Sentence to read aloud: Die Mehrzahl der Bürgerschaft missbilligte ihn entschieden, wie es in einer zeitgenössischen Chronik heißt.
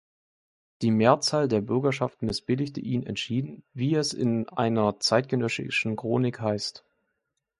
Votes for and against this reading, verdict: 1, 2, rejected